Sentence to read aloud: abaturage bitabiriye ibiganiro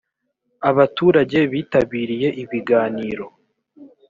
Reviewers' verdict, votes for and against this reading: accepted, 2, 0